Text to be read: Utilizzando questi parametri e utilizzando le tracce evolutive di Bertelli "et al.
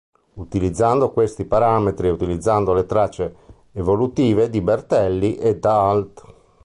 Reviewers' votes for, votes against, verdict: 1, 2, rejected